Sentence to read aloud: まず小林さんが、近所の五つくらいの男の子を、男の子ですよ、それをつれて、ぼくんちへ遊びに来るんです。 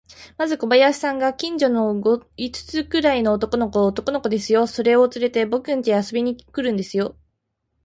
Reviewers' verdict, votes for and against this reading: rejected, 3, 3